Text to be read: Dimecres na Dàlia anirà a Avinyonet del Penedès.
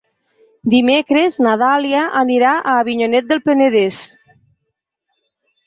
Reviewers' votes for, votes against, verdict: 8, 2, accepted